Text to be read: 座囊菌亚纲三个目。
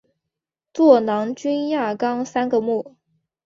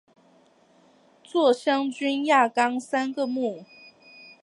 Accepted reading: second